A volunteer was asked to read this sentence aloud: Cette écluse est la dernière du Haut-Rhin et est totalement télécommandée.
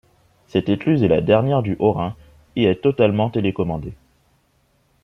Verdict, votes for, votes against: accepted, 3, 0